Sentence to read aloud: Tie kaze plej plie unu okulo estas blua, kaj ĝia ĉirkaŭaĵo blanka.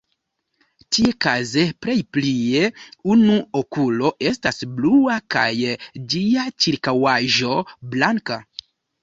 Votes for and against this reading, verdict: 0, 2, rejected